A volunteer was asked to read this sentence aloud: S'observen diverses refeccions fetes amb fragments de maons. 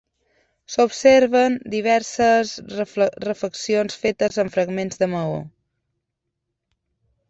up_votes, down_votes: 0, 2